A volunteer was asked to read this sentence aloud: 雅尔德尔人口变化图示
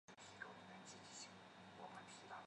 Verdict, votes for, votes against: rejected, 0, 2